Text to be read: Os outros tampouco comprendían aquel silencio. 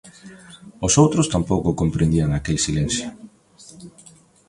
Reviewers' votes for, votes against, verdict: 2, 1, accepted